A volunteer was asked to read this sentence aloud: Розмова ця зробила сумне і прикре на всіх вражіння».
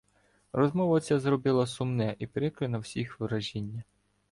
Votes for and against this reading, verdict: 0, 2, rejected